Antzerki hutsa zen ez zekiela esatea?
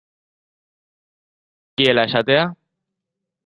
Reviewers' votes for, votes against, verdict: 0, 2, rejected